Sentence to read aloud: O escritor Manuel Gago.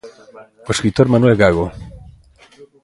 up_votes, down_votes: 0, 2